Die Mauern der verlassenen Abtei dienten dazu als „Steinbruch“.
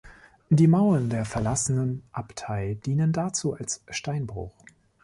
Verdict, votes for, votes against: rejected, 1, 2